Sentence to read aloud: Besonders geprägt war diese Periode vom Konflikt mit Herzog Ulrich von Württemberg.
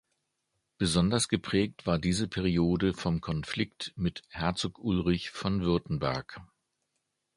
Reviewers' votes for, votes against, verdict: 2, 0, accepted